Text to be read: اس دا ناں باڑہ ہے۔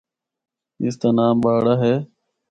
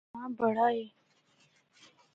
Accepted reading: first